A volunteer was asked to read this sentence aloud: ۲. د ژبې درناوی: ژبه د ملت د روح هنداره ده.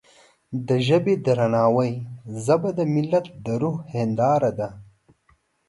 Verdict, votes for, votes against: rejected, 0, 2